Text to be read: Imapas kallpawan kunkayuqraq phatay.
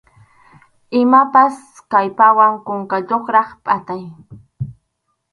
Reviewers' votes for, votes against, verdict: 2, 2, rejected